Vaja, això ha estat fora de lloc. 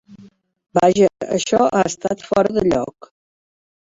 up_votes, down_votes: 0, 2